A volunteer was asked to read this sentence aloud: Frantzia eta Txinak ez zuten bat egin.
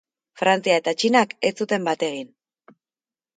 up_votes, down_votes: 2, 0